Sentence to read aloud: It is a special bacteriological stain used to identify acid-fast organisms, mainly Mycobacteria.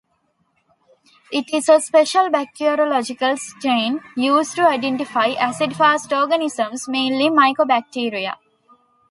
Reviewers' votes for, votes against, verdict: 2, 0, accepted